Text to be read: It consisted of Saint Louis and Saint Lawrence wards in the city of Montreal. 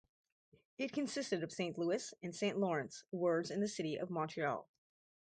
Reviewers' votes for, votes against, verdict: 4, 0, accepted